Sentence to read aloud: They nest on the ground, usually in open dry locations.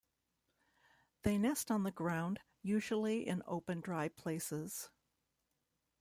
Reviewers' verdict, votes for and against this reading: rejected, 0, 2